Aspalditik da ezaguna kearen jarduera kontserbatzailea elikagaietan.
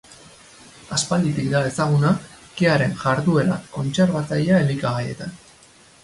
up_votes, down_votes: 4, 0